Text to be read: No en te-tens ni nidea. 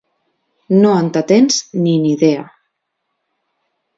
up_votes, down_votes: 1, 2